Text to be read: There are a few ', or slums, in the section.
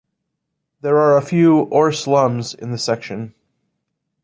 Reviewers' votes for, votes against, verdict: 2, 0, accepted